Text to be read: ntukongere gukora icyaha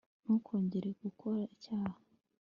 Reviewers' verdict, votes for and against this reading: accepted, 2, 0